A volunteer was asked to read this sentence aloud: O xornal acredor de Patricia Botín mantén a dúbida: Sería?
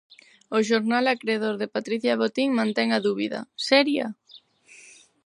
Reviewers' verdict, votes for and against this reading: rejected, 0, 4